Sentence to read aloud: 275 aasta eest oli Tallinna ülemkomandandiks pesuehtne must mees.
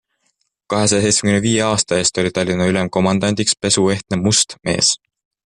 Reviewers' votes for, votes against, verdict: 0, 2, rejected